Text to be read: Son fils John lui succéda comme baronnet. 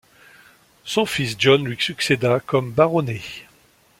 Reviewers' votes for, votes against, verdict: 1, 2, rejected